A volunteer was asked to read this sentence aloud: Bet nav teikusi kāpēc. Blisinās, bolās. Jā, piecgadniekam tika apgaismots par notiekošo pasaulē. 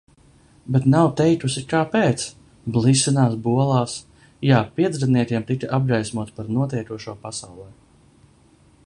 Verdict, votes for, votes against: rejected, 1, 2